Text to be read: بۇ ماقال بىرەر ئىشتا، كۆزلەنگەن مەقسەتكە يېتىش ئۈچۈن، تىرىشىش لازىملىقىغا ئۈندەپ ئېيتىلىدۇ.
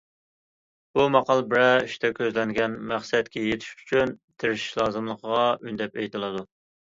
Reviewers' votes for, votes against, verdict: 2, 0, accepted